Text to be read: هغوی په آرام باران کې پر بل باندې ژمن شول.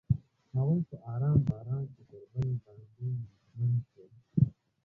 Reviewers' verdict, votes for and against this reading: accepted, 2, 1